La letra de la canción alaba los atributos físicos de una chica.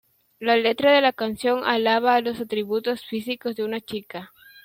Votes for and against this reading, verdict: 0, 2, rejected